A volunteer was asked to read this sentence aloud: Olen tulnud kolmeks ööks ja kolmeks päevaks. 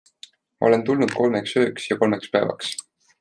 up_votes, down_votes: 2, 0